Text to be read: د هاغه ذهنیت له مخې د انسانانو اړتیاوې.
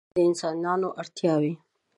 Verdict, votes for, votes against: rejected, 0, 2